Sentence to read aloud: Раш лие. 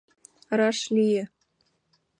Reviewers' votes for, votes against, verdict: 2, 0, accepted